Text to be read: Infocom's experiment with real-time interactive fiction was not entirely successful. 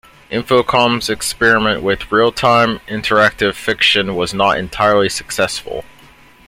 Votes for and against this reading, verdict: 1, 2, rejected